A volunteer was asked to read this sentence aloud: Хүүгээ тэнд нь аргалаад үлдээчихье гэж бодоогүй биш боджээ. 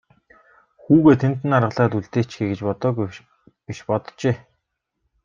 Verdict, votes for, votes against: rejected, 1, 2